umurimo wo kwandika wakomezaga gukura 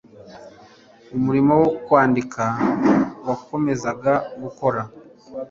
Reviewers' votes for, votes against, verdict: 0, 2, rejected